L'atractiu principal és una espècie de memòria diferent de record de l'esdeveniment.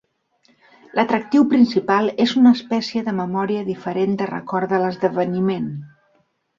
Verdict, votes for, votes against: accepted, 2, 0